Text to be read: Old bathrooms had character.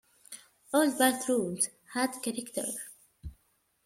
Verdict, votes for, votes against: rejected, 0, 2